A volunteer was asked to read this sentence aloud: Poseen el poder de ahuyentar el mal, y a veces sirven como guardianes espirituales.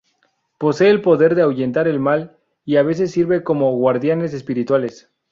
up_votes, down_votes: 0, 2